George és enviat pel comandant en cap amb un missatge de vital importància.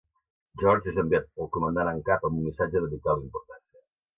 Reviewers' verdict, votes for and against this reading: rejected, 0, 2